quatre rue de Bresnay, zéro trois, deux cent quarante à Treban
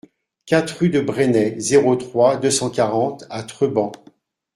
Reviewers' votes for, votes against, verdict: 2, 0, accepted